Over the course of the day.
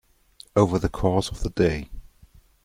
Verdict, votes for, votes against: accepted, 2, 0